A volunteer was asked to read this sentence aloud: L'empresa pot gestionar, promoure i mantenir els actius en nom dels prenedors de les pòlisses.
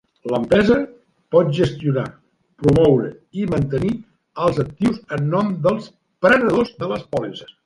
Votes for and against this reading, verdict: 2, 0, accepted